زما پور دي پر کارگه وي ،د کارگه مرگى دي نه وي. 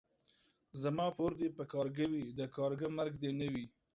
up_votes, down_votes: 1, 3